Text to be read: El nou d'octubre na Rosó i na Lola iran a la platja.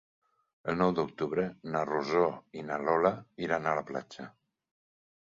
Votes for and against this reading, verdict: 4, 0, accepted